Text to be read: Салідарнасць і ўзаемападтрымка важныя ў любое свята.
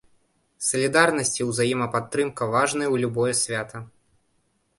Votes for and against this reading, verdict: 2, 0, accepted